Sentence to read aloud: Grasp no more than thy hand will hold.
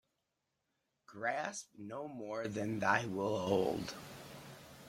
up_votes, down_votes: 0, 2